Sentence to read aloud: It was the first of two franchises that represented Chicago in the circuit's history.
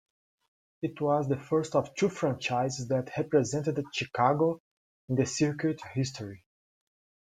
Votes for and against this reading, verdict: 2, 1, accepted